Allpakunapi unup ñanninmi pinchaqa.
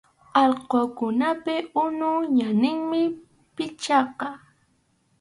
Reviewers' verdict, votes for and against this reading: rejected, 0, 2